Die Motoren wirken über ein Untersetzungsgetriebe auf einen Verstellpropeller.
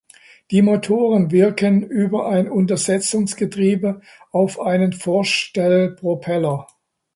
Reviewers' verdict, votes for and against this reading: rejected, 0, 4